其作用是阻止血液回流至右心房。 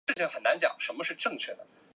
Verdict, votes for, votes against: rejected, 0, 5